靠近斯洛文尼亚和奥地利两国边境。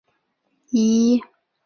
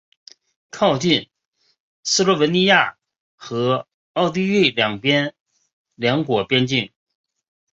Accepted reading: second